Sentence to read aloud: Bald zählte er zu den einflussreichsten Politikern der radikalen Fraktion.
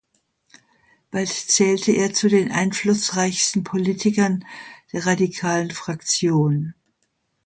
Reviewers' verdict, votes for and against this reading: accepted, 2, 1